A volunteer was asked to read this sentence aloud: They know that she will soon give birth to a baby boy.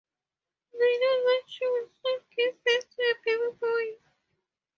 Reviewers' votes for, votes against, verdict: 0, 2, rejected